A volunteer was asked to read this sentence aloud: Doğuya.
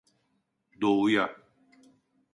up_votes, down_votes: 2, 0